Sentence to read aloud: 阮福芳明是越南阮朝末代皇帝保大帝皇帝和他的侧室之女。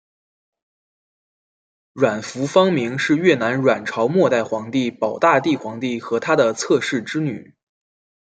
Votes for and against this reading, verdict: 2, 0, accepted